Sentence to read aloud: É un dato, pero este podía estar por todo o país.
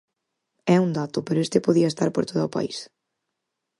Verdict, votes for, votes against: accepted, 4, 0